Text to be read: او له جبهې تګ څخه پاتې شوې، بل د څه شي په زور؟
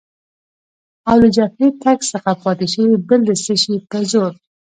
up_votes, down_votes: 2, 0